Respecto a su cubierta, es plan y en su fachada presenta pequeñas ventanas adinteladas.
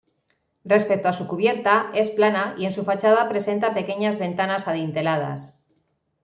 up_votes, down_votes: 1, 2